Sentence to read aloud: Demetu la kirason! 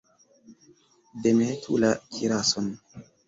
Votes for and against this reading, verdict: 2, 1, accepted